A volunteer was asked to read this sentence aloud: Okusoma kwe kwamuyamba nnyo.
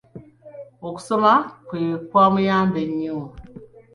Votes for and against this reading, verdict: 2, 0, accepted